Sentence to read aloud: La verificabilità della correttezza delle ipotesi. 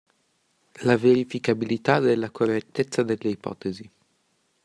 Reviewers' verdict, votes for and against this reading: accepted, 2, 0